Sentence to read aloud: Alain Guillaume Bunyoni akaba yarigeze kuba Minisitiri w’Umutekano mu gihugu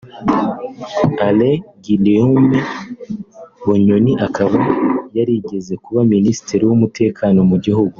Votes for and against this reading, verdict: 2, 0, accepted